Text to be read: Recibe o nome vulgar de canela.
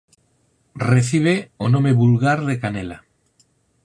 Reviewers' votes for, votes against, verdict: 4, 0, accepted